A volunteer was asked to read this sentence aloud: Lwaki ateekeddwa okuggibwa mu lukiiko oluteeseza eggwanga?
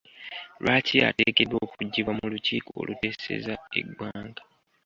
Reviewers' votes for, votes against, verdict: 2, 0, accepted